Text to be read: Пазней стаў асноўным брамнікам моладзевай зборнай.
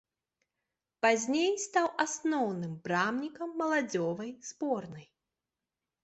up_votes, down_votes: 0, 2